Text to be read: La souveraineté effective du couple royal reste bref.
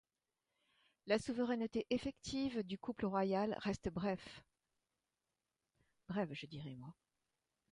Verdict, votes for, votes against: rejected, 1, 2